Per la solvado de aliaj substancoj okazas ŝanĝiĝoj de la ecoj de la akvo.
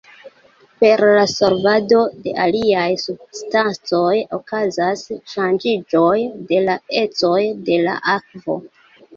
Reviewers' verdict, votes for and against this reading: accepted, 2, 0